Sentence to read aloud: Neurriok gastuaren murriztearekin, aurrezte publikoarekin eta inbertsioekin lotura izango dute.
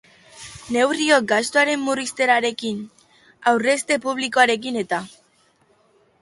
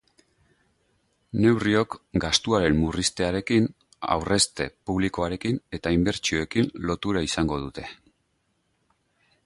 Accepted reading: second